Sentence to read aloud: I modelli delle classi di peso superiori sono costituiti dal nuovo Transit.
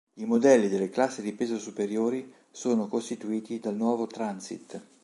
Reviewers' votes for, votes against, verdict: 3, 0, accepted